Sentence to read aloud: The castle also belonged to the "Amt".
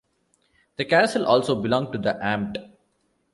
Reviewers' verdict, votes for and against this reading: accepted, 2, 0